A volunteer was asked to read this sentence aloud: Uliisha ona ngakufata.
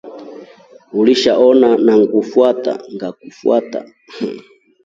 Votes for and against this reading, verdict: 0, 2, rejected